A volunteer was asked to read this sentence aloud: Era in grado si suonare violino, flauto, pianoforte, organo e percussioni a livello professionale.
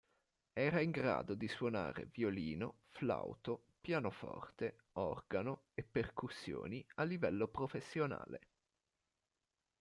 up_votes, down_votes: 2, 1